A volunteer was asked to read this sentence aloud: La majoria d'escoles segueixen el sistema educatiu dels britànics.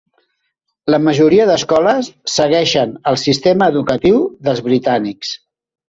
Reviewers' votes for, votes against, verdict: 4, 0, accepted